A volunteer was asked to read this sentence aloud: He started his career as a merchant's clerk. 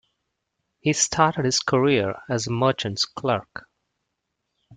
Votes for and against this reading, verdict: 2, 0, accepted